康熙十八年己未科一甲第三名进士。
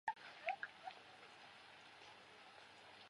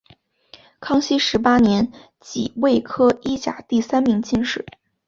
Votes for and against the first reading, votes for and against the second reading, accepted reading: 0, 4, 3, 0, second